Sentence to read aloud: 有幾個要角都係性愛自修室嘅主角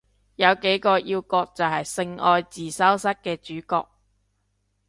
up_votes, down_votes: 0, 2